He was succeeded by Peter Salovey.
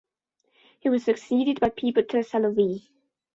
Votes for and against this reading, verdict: 1, 2, rejected